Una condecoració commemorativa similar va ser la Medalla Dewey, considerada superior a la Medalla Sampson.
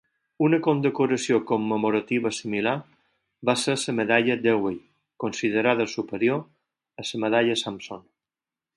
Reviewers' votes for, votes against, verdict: 0, 4, rejected